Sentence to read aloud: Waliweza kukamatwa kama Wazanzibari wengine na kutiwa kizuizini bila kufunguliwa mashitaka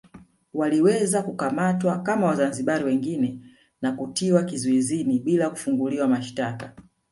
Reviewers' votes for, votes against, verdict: 5, 0, accepted